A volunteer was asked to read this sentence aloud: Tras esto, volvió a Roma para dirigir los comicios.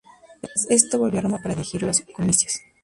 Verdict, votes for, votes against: rejected, 0, 4